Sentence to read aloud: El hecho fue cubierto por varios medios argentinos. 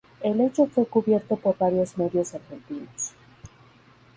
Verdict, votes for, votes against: accepted, 2, 0